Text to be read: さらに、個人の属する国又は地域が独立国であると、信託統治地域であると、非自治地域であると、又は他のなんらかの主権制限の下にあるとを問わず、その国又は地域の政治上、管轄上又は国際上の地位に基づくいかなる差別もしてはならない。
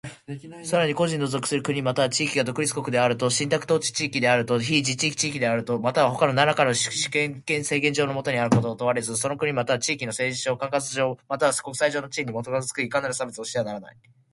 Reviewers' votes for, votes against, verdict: 0, 2, rejected